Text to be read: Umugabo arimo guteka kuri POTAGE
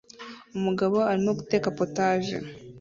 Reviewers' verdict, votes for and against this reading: rejected, 0, 2